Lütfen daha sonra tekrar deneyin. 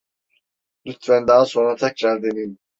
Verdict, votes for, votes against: accepted, 2, 0